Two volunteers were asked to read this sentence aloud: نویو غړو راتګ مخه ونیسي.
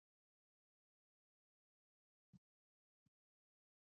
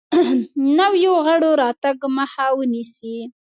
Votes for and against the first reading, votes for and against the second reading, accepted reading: 0, 2, 2, 0, second